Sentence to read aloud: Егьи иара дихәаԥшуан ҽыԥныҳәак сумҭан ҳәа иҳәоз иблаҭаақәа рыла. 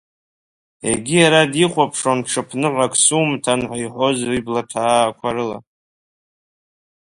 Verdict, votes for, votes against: rejected, 1, 2